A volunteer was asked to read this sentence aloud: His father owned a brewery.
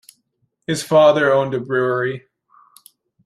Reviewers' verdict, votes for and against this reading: accepted, 2, 0